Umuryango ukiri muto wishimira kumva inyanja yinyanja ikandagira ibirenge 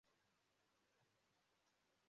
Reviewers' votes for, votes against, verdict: 0, 2, rejected